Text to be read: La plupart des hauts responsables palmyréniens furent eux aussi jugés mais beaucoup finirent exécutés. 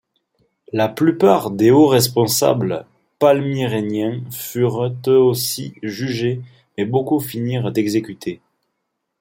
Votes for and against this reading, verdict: 1, 2, rejected